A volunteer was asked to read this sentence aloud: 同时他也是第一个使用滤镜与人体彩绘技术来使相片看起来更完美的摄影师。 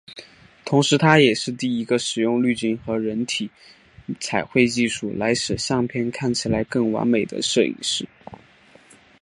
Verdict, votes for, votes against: rejected, 1, 2